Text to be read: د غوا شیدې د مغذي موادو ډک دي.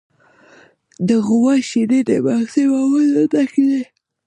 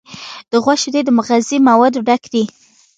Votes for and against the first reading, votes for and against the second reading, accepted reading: 0, 2, 2, 0, second